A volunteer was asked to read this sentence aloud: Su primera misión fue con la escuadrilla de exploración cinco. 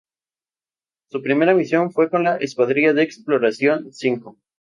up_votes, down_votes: 2, 0